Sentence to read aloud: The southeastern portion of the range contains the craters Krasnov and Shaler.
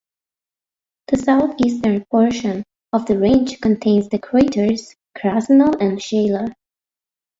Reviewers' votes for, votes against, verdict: 2, 1, accepted